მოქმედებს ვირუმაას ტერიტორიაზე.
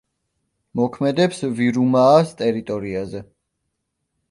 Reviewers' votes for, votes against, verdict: 2, 0, accepted